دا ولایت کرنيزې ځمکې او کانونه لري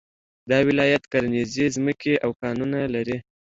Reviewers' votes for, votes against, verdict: 2, 0, accepted